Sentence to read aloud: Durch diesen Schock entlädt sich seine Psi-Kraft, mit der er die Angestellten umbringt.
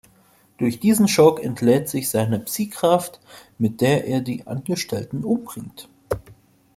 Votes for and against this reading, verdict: 3, 0, accepted